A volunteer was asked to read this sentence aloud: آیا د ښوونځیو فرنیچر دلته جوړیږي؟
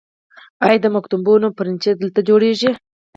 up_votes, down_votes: 2, 4